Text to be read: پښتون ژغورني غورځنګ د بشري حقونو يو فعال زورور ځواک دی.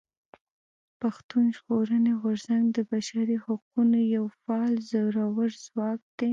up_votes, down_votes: 1, 2